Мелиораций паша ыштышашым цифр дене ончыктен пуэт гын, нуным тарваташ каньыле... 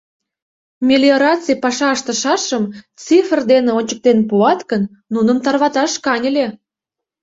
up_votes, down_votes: 0, 2